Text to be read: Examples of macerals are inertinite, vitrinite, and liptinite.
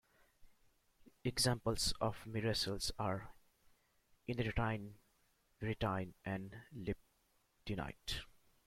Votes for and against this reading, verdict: 2, 1, accepted